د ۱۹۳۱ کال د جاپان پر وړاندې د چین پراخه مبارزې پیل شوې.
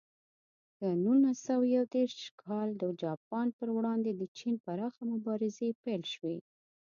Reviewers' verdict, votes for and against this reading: rejected, 0, 2